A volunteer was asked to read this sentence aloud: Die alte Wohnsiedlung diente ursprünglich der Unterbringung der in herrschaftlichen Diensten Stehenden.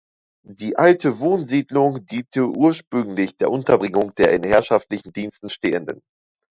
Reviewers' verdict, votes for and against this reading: accepted, 2, 0